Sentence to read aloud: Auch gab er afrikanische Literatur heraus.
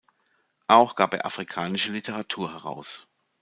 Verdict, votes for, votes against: accepted, 2, 0